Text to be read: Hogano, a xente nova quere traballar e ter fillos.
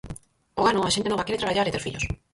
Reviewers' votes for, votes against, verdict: 0, 4, rejected